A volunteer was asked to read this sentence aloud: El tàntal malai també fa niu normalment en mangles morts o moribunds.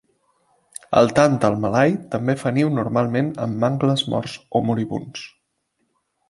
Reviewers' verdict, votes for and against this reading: accepted, 2, 0